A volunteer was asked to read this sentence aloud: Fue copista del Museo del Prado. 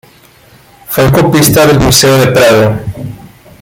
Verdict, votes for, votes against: accepted, 2, 1